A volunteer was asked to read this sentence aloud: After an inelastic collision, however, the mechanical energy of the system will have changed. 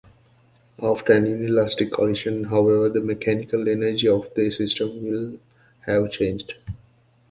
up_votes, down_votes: 1, 2